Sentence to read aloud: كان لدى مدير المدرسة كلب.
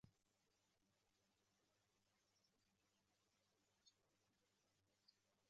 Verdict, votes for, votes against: rejected, 0, 2